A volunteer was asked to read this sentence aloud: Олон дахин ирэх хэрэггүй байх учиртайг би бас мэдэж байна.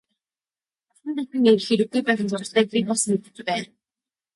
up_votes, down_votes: 1, 2